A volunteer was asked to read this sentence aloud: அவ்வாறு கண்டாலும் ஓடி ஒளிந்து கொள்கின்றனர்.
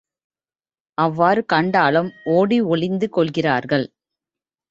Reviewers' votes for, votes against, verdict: 1, 2, rejected